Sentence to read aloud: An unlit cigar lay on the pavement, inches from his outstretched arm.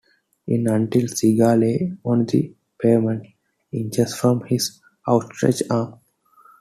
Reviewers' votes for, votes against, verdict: 2, 1, accepted